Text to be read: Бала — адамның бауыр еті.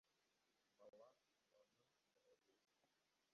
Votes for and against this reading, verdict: 0, 2, rejected